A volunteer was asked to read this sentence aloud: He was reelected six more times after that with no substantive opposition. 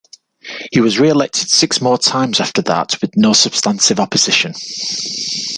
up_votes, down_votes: 2, 0